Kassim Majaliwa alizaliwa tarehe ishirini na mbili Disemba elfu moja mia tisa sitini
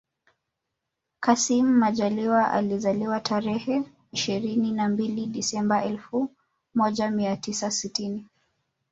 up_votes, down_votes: 1, 2